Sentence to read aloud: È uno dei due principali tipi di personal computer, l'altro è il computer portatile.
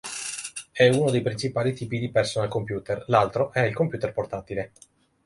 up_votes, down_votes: 1, 2